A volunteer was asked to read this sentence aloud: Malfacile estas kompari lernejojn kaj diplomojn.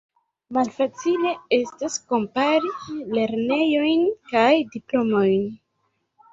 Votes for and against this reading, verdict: 0, 2, rejected